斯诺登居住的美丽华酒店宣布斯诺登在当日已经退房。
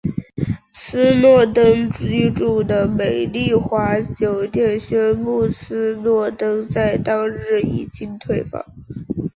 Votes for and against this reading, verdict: 2, 0, accepted